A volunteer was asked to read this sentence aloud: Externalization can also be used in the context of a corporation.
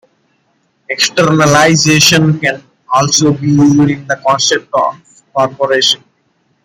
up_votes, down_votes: 1, 2